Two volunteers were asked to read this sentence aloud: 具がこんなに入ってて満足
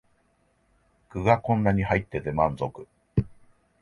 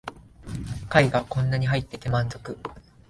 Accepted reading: first